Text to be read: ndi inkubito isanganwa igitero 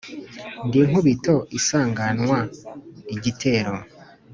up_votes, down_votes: 2, 0